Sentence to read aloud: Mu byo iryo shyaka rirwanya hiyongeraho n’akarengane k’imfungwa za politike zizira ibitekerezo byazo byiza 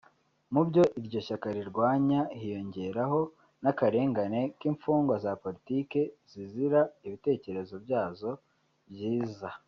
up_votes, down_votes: 2, 0